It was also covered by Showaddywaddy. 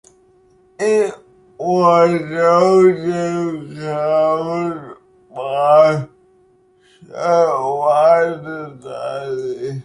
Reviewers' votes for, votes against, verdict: 1, 2, rejected